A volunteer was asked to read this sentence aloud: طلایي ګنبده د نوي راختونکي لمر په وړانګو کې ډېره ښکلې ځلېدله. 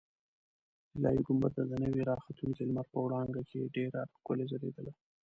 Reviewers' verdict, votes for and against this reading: rejected, 0, 2